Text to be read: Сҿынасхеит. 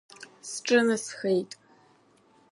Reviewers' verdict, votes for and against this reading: accepted, 2, 0